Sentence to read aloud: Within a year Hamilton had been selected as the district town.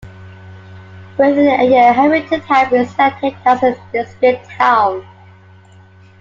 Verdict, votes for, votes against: accepted, 3, 0